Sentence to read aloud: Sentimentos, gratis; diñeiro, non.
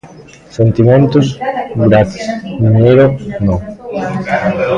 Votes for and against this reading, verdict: 1, 2, rejected